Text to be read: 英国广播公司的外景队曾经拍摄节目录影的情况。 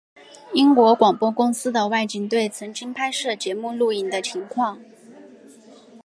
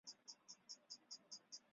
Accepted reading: first